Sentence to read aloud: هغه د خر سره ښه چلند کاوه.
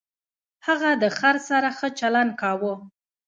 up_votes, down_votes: 0, 2